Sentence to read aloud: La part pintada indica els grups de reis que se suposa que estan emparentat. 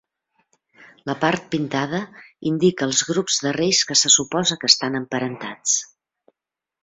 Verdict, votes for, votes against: rejected, 2, 3